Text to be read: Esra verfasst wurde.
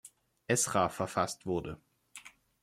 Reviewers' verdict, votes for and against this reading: accepted, 2, 0